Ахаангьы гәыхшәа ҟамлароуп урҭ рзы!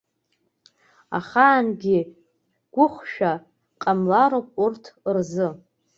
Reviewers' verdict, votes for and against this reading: accepted, 2, 0